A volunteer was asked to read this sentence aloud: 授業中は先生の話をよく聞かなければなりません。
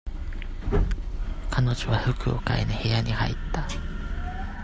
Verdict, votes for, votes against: rejected, 0, 2